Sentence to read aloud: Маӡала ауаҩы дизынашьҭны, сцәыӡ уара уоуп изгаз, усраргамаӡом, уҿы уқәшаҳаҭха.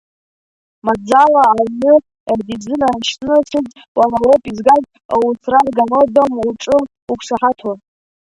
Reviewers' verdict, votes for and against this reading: rejected, 0, 2